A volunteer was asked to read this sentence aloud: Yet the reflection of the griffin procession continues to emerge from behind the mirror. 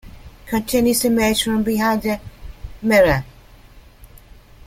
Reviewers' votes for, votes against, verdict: 0, 2, rejected